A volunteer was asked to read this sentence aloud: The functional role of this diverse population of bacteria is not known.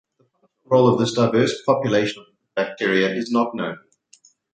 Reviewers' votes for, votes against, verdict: 0, 4, rejected